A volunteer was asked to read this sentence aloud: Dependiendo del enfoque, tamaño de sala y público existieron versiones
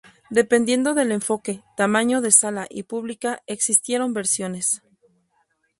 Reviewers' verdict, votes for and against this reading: rejected, 0, 2